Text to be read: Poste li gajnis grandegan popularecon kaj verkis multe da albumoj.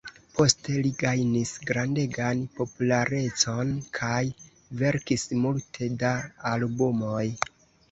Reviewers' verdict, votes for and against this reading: rejected, 0, 2